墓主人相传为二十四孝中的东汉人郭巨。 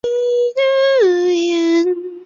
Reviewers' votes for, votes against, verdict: 0, 5, rejected